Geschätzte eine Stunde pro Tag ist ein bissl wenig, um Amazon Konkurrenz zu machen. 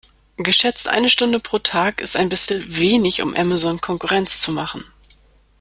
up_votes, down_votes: 2, 0